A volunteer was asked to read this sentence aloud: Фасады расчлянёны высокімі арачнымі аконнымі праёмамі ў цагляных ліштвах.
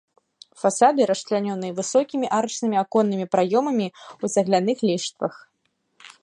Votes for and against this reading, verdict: 0, 2, rejected